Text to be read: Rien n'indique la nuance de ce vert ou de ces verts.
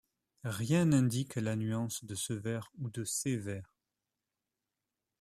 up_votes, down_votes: 2, 0